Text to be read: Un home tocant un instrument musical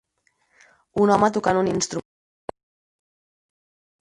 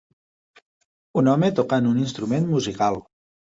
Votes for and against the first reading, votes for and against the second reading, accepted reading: 0, 4, 3, 0, second